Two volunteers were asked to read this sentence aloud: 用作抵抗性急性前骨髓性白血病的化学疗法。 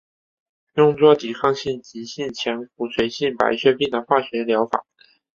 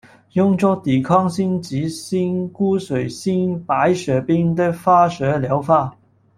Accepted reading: first